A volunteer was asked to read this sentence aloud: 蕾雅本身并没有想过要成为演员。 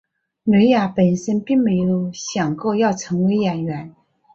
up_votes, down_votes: 0, 2